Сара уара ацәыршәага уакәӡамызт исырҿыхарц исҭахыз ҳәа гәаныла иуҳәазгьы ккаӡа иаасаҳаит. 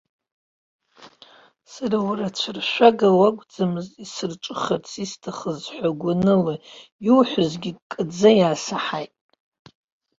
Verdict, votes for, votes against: accepted, 2, 0